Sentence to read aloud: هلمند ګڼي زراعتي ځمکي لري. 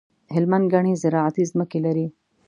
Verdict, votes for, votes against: accepted, 2, 0